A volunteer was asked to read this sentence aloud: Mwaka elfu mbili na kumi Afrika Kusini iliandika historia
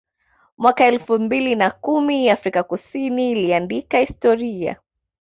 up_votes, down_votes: 2, 0